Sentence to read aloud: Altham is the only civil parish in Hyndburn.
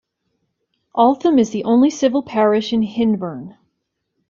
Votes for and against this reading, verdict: 2, 0, accepted